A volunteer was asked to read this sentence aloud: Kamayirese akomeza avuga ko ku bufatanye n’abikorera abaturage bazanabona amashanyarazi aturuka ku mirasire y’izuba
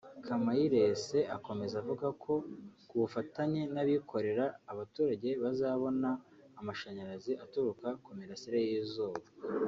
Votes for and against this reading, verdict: 0, 2, rejected